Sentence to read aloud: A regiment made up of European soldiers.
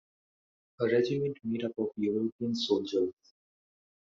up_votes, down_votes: 1, 2